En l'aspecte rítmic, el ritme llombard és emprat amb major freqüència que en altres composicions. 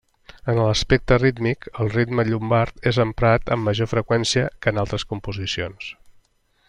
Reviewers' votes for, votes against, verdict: 3, 0, accepted